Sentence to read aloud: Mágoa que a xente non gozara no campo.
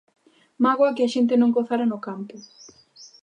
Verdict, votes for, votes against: accepted, 2, 0